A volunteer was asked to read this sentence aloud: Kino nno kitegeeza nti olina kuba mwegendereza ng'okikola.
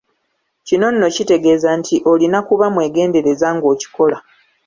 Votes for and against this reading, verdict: 2, 0, accepted